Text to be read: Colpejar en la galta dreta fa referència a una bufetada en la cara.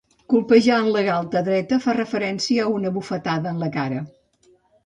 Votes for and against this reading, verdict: 2, 0, accepted